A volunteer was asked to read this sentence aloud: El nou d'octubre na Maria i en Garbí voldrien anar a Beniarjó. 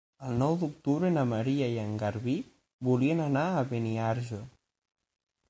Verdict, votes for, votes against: rejected, 3, 6